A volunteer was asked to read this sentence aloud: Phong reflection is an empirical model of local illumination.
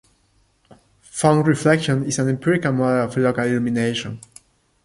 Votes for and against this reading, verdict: 2, 0, accepted